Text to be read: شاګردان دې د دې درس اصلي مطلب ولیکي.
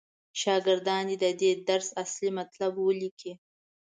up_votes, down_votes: 2, 0